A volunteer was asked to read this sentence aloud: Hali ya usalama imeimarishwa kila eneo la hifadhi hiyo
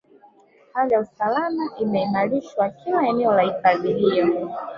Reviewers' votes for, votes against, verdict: 2, 0, accepted